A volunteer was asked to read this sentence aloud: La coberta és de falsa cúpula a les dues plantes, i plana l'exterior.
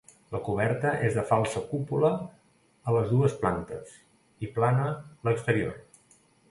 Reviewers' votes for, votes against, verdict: 2, 0, accepted